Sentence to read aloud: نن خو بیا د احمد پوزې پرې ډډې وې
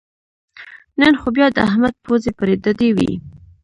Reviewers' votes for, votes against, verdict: 1, 2, rejected